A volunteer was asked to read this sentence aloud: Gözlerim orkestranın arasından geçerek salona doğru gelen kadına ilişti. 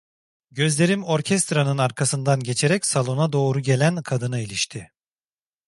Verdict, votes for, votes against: rejected, 0, 2